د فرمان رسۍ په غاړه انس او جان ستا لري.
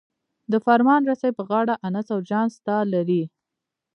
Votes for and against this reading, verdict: 0, 2, rejected